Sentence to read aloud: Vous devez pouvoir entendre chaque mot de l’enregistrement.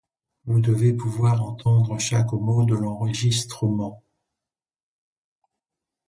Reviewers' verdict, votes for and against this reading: accepted, 2, 0